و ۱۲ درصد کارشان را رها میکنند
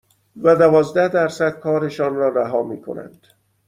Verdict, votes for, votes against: rejected, 0, 2